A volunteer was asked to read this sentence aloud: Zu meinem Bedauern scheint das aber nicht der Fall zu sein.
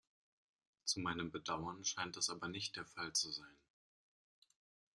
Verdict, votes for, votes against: accepted, 2, 0